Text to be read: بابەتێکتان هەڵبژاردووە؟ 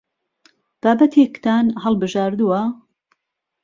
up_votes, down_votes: 2, 0